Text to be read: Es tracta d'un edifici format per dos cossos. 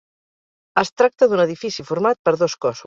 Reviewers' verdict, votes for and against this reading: rejected, 2, 4